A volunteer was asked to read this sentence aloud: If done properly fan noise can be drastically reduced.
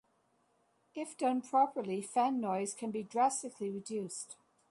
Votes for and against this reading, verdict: 2, 0, accepted